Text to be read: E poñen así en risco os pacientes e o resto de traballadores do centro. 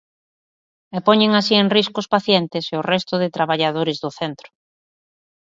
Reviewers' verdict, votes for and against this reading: accepted, 2, 0